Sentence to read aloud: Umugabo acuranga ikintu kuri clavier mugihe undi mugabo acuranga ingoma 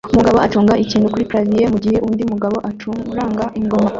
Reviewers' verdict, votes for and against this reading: rejected, 0, 2